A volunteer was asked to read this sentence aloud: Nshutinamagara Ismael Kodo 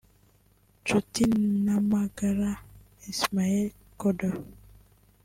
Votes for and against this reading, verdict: 2, 0, accepted